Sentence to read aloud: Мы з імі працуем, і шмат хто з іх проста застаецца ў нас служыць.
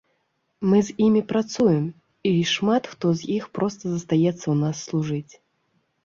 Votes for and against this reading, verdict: 1, 2, rejected